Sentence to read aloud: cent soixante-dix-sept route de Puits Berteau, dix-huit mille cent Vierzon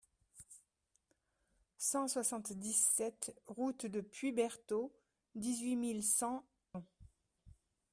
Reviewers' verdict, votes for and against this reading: rejected, 0, 2